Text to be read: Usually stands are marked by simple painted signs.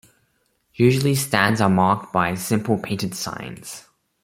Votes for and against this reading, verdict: 2, 0, accepted